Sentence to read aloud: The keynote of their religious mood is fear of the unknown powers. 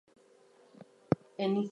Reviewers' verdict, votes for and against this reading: rejected, 0, 4